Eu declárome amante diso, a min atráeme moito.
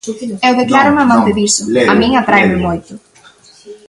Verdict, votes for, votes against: rejected, 1, 2